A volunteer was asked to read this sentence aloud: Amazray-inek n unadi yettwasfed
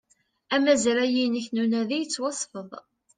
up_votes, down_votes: 2, 1